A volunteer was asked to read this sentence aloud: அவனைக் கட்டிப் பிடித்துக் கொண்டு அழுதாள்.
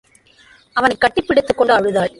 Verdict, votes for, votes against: accepted, 2, 0